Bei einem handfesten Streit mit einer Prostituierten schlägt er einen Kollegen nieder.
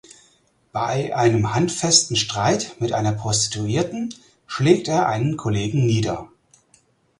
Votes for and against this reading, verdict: 4, 0, accepted